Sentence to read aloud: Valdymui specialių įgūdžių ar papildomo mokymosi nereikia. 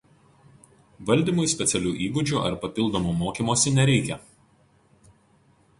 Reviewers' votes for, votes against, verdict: 4, 0, accepted